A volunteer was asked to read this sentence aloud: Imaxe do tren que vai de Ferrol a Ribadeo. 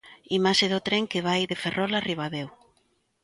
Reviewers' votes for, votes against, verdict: 2, 0, accepted